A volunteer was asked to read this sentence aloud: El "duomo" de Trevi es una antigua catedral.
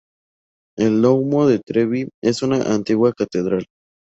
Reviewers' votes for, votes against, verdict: 2, 0, accepted